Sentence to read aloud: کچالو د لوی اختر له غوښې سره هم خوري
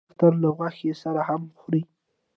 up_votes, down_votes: 1, 2